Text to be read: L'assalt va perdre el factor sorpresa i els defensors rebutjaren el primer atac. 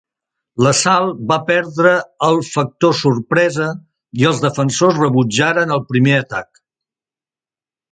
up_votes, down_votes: 2, 0